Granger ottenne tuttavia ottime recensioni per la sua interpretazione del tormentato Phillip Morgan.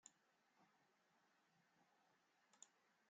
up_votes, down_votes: 0, 2